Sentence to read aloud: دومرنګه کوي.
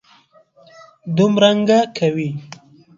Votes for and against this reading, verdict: 2, 0, accepted